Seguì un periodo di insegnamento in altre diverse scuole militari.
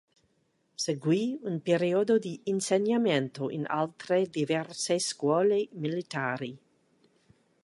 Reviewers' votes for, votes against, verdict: 2, 1, accepted